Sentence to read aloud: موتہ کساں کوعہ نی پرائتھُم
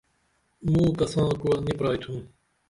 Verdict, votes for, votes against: rejected, 1, 2